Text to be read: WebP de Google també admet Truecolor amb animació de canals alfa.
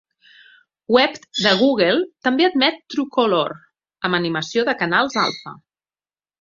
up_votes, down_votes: 2, 0